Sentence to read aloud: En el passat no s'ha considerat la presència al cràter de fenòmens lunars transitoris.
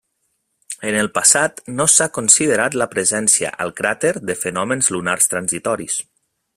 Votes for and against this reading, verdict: 3, 0, accepted